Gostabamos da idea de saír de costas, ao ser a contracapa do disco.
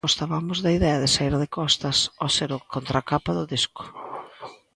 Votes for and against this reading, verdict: 0, 2, rejected